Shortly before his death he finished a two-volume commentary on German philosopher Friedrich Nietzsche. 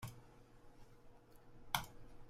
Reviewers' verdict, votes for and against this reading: rejected, 0, 2